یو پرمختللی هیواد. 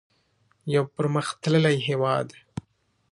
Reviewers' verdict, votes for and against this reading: accepted, 2, 0